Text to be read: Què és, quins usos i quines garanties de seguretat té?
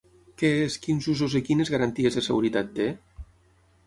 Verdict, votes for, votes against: rejected, 0, 6